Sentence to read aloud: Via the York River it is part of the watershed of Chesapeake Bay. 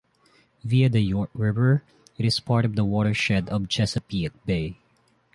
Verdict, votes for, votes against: rejected, 1, 2